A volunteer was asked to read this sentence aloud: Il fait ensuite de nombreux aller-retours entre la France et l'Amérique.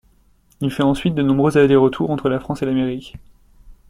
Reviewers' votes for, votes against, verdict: 0, 2, rejected